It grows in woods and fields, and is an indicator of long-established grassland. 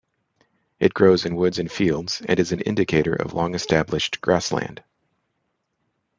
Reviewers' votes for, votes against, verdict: 2, 0, accepted